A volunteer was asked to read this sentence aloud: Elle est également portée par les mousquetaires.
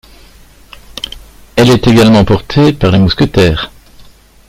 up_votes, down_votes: 0, 2